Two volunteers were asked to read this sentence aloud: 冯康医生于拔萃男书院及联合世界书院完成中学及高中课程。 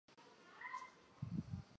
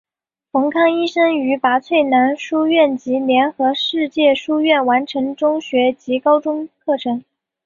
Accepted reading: second